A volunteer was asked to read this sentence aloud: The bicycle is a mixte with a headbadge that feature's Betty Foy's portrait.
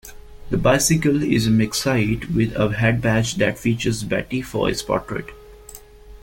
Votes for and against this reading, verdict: 0, 2, rejected